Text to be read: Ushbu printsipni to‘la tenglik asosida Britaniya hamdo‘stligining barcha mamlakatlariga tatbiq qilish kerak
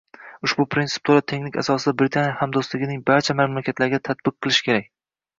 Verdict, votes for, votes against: accepted, 2, 0